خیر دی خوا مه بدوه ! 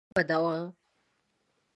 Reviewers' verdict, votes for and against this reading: rejected, 0, 2